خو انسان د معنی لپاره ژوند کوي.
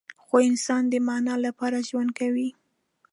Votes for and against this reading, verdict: 2, 0, accepted